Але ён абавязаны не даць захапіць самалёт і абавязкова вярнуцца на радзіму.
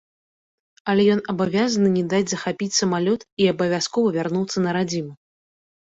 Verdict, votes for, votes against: accepted, 2, 0